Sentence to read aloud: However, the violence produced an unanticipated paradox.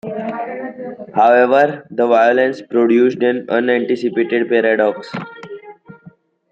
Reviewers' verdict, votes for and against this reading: accepted, 2, 0